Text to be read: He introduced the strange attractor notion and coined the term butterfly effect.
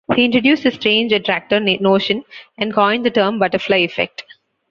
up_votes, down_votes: 1, 2